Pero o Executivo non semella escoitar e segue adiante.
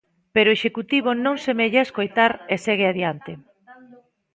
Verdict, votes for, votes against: rejected, 0, 2